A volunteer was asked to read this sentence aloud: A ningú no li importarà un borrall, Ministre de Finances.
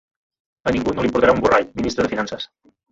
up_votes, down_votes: 2, 0